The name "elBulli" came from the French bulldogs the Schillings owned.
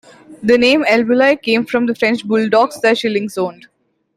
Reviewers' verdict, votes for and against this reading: accepted, 2, 1